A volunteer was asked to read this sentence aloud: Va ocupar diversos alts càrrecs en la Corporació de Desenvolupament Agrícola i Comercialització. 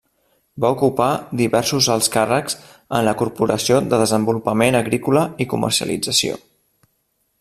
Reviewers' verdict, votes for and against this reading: accepted, 2, 0